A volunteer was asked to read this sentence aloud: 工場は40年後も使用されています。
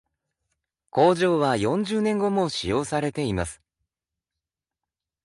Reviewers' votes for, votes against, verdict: 0, 2, rejected